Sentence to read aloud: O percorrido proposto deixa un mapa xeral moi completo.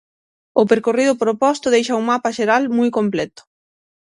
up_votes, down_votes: 3, 3